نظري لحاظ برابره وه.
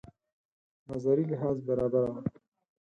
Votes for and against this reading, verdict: 2, 4, rejected